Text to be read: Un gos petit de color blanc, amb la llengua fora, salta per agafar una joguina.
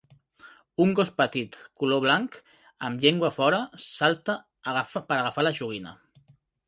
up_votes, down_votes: 0, 2